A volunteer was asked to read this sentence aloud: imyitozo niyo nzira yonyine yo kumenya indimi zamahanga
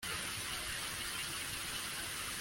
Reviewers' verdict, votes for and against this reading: rejected, 0, 2